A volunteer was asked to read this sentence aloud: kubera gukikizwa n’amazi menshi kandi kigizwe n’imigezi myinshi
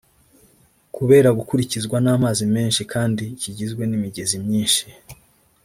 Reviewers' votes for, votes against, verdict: 0, 2, rejected